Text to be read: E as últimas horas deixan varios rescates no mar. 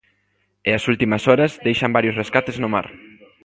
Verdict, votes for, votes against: accepted, 3, 0